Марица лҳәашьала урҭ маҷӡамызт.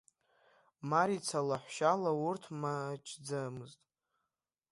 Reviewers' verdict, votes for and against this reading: rejected, 0, 2